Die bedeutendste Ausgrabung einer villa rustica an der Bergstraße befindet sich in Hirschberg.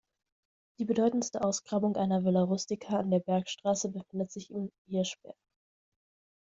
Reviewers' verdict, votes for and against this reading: accepted, 2, 0